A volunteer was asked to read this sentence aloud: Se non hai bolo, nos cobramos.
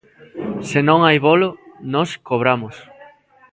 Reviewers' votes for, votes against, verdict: 2, 1, accepted